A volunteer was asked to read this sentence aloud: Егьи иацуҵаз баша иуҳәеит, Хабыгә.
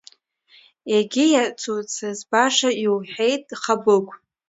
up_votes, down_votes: 1, 2